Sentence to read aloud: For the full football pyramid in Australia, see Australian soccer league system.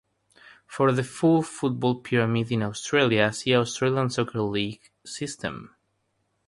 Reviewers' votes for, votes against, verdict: 3, 3, rejected